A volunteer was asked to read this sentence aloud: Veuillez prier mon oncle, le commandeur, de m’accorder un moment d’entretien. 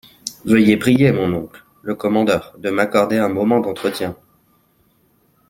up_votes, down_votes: 2, 0